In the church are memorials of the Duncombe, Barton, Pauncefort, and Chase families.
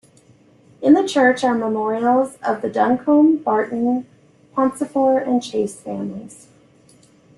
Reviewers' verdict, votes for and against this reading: accepted, 2, 0